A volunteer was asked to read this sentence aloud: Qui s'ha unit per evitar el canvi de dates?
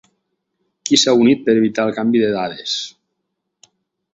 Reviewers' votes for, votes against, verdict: 0, 4, rejected